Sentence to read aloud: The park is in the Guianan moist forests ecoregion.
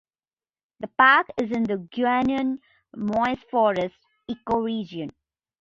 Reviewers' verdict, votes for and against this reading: accepted, 2, 1